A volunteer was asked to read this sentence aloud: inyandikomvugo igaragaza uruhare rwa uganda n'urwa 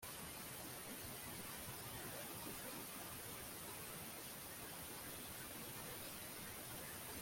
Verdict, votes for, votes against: rejected, 0, 2